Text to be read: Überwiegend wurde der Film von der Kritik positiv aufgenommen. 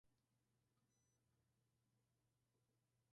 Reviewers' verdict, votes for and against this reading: rejected, 0, 2